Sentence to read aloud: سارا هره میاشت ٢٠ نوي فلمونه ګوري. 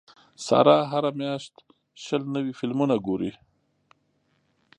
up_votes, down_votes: 0, 2